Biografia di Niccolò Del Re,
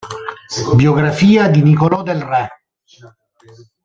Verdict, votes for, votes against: rejected, 0, 2